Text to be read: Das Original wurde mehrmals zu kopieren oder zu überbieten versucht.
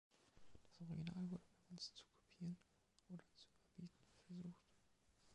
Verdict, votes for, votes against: rejected, 0, 3